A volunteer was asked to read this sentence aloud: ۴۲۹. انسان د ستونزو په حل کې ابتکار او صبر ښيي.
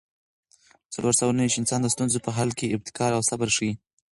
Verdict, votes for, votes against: rejected, 0, 2